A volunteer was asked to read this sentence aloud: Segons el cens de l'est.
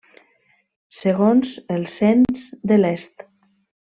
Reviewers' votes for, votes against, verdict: 2, 0, accepted